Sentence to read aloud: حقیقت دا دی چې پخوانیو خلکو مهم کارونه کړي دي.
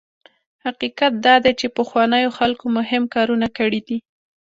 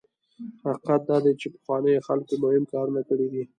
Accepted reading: first